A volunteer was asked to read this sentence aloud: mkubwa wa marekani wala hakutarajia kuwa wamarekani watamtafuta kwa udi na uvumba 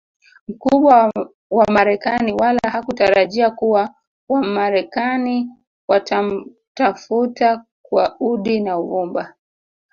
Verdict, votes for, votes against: rejected, 0, 2